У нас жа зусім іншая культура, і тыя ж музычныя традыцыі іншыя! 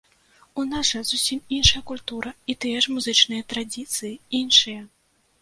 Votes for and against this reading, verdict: 1, 2, rejected